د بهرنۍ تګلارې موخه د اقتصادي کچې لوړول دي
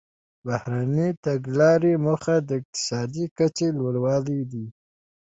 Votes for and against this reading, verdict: 3, 2, accepted